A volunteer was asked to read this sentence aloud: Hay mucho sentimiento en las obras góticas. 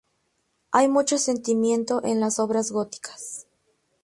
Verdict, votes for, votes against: accepted, 2, 0